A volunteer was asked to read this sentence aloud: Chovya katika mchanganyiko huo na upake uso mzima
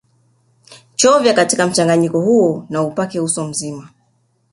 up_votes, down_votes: 2, 0